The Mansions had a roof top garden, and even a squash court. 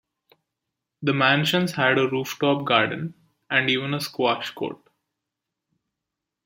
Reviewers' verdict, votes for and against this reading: accepted, 2, 0